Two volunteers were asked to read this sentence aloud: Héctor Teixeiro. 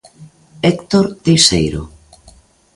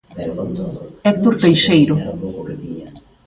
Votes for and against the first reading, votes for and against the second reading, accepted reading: 2, 0, 0, 2, first